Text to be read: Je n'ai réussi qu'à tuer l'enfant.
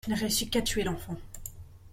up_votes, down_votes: 0, 2